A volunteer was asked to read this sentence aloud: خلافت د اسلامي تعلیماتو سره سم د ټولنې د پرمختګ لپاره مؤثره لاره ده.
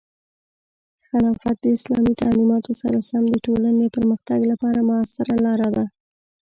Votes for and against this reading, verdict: 0, 2, rejected